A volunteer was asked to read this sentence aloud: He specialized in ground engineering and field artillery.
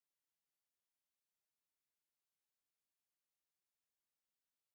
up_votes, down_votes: 0, 2